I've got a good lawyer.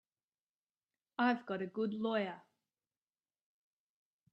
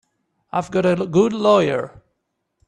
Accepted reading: first